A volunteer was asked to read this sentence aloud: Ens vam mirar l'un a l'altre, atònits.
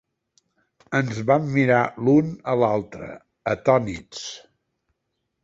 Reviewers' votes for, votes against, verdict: 4, 0, accepted